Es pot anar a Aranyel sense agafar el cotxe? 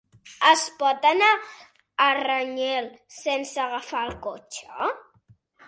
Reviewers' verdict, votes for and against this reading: rejected, 1, 2